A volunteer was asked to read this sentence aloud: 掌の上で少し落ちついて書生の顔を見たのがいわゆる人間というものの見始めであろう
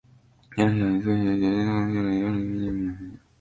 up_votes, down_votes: 0, 2